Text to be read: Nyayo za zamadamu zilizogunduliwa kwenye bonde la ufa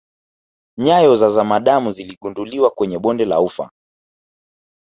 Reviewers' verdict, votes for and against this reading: rejected, 1, 2